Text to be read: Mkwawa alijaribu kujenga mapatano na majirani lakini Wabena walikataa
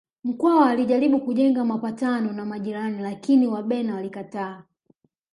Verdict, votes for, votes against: rejected, 1, 2